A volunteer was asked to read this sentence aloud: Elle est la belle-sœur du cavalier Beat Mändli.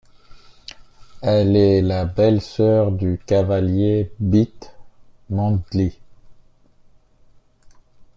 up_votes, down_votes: 1, 2